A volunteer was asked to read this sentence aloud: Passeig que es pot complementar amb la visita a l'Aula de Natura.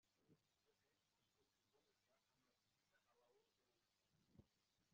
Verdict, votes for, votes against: rejected, 0, 2